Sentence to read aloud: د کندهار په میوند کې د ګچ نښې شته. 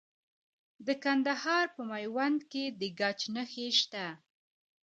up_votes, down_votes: 2, 0